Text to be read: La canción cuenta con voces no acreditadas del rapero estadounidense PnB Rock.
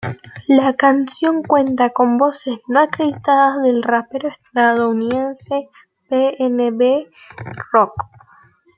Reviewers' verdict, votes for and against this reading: accepted, 2, 0